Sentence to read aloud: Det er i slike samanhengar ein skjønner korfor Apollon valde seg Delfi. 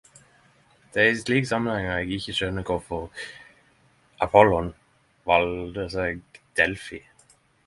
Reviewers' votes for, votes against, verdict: 0, 10, rejected